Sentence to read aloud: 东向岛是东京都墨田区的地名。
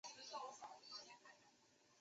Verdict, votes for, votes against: rejected, 1, 3